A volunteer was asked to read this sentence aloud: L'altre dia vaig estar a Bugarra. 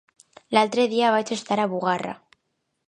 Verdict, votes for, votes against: accepted, 2, 0